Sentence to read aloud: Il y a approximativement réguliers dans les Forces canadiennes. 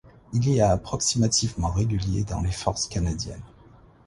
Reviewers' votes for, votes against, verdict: 2, 0, accepted